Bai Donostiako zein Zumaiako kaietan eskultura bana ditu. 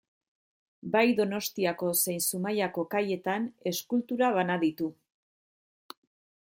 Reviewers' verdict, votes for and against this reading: accepted, 2, 0